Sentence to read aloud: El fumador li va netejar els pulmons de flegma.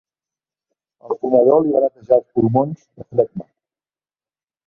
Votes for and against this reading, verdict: 0, 2, rejected